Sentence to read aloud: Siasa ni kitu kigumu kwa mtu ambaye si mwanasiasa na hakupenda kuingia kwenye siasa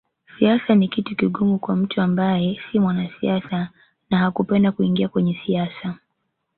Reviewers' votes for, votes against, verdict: 2, 1, accepted